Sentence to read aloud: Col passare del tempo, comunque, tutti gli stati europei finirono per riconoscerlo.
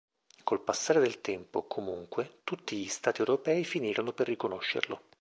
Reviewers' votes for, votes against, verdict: 2, 0, accepted